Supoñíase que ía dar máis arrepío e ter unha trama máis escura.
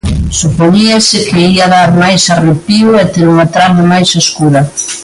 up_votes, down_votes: 3, 2